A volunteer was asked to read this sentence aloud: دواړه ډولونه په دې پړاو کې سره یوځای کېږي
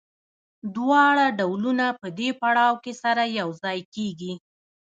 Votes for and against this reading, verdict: 2, 0, accepted